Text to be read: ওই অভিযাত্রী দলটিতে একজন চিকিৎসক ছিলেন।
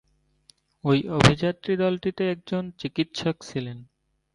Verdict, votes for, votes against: accepted, 3, 0